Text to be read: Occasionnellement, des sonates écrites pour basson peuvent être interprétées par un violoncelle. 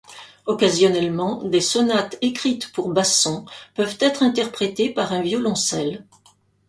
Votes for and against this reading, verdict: 2, 0, accepted